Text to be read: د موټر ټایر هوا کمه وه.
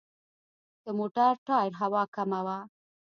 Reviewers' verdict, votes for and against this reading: rejected, 0, 2